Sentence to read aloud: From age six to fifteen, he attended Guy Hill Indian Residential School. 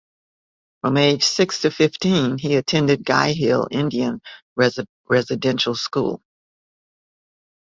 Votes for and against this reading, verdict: 2, 0, accepted